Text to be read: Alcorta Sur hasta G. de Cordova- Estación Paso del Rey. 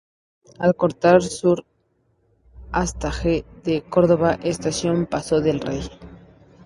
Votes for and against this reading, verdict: 0, 2, rejected